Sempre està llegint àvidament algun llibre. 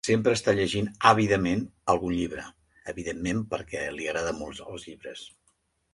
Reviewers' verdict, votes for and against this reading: rejected, 0, 2